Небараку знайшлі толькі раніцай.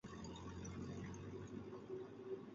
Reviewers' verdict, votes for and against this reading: rejected, 0, 2